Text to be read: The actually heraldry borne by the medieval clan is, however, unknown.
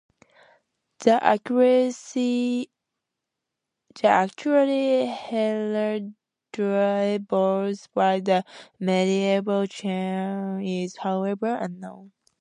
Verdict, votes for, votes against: rejected, 0, 2